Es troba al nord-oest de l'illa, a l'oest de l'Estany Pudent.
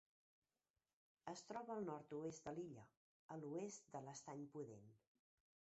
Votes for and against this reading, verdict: 0, 2, rejected